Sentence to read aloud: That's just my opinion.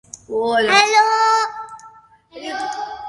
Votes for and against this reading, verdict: 0, 3, rejected